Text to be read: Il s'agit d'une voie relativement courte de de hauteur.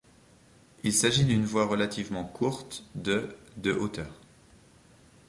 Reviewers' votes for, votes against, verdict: 2, 0, accepted